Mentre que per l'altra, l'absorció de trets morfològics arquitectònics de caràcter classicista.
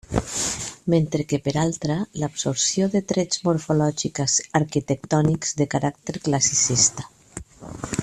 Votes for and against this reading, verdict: 1, 2, rejected